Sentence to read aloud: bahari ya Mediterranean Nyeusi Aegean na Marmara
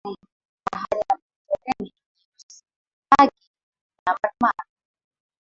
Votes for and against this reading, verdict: 0, 2, rejected